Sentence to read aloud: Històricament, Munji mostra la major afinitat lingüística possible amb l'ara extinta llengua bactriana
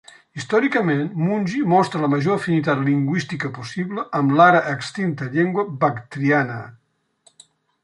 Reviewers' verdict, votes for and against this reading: accepted, 3, 0